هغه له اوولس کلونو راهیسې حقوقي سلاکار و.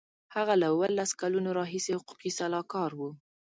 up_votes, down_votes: 2, 0